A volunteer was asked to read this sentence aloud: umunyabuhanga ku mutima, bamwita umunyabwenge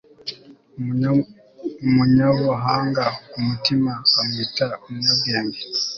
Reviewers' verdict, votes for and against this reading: rejected, 0, 2